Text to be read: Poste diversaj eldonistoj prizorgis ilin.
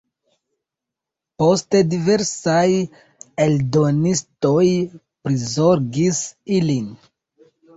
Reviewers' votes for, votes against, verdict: 2, 1, accepted